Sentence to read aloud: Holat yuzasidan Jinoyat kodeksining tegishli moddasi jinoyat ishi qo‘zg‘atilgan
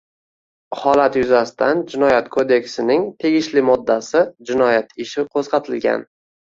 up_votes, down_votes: 2, 0